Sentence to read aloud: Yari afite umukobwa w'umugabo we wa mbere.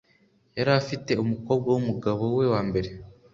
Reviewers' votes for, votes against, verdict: 2, 0, accepted